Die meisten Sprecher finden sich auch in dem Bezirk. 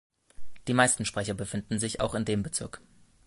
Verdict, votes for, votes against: accepted, 2, 1